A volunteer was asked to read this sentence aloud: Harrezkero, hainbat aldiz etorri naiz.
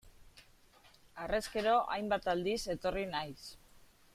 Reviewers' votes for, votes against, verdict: 2, 0, accepted